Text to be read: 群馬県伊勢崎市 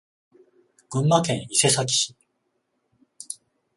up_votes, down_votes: 14, 0